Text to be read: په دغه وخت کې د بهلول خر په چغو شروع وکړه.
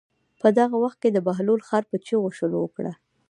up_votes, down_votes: 1, 2